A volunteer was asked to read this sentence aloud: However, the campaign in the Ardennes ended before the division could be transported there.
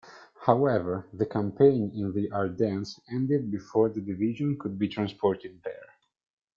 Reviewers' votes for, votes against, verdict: 2, 0, accepted